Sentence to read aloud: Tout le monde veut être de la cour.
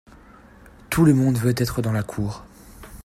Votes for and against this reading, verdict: 0, 2, rejected